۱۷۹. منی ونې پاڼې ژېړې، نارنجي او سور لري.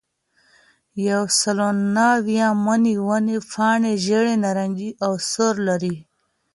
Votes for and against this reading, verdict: 0, 2, rejected